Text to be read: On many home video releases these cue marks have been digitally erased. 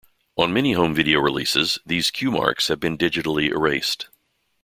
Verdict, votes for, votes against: accepted, 2, 0